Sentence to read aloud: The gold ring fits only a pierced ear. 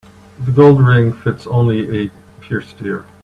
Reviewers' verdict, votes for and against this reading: accepted, 2, 1